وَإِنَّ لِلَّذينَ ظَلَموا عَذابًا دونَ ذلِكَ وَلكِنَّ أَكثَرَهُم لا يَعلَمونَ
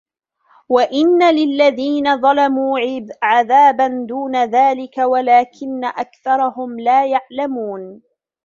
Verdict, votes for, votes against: rejected, 0, 2